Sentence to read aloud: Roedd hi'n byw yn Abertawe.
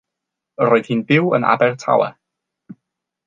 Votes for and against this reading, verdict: 3, 0, accepted